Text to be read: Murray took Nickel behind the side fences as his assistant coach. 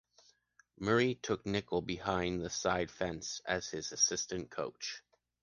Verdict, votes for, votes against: rejected, 1, 2